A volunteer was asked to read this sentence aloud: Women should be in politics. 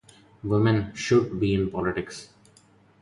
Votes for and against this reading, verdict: 2, 0, accepted